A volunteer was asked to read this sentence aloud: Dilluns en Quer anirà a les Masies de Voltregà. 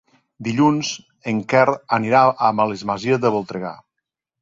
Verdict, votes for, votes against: rejected, 0, 2